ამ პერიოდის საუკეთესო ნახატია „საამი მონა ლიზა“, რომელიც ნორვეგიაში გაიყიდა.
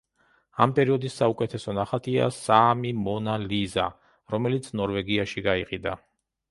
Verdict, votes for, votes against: accepted, 2, 0